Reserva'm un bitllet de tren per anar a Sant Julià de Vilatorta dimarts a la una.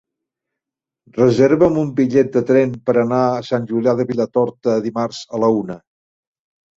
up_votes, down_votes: 4, 0